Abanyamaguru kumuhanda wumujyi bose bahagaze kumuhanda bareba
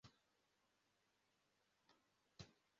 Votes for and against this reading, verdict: 0, 2, rejected